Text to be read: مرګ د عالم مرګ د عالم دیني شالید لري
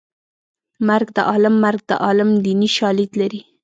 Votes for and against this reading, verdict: 1, 2, rejected